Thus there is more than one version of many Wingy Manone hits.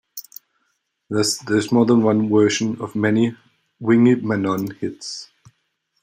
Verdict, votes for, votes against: accepted, 2, 0